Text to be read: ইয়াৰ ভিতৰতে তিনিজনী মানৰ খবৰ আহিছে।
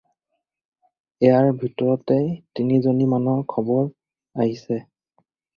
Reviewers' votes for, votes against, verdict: 4, 0, accepted